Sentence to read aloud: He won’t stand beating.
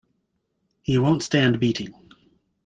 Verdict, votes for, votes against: accepted, 2, 0